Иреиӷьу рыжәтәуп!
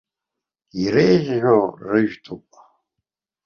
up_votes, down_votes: 1, 2